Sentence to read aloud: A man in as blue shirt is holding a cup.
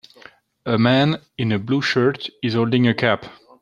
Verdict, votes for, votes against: accepted, 2, 1